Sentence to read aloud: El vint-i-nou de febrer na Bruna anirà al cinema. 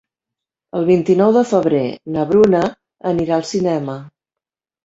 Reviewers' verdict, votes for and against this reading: accepted, 2, 0